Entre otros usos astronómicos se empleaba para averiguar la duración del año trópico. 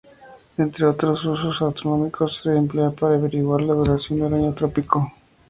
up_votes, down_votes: 0, 2